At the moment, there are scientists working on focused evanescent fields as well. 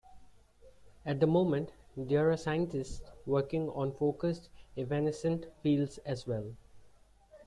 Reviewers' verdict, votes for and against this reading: rejected, 0, 2